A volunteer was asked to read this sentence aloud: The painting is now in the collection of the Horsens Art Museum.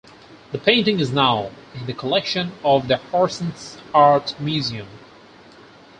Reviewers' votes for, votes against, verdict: 4, 0, accepted